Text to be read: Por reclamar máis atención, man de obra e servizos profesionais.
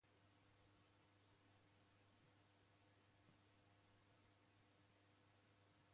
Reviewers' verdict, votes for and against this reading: rejected, 0, 2